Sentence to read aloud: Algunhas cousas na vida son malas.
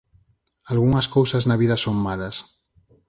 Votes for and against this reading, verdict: 4, 0, accepted